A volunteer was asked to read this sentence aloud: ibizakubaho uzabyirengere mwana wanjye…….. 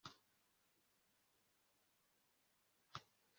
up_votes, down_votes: 0, 2